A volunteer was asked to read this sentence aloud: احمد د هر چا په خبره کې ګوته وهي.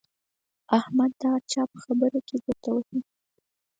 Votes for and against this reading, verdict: 4, 0, accepted